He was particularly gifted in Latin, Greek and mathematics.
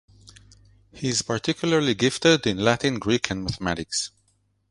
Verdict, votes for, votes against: rejected, 0, 2